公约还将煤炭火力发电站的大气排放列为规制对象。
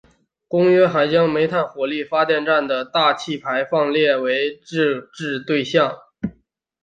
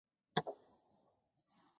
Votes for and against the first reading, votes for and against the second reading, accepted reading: 2, 0, 0, 2, first